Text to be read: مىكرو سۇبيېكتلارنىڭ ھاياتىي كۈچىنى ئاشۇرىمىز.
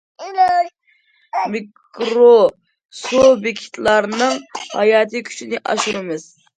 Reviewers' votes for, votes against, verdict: 2, 1, accepted